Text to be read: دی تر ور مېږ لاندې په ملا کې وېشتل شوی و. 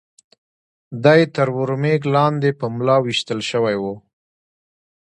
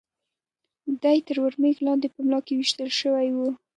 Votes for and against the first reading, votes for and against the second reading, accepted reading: 2, 0, 2, 3, first